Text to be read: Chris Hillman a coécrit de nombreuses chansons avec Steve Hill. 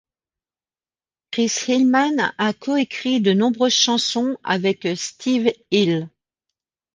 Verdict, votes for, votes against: accepted, 2, 0